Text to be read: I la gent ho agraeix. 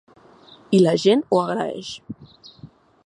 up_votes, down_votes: 4, 0